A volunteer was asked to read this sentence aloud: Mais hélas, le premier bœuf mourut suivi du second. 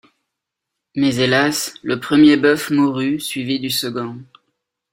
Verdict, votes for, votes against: accepted, 2, 0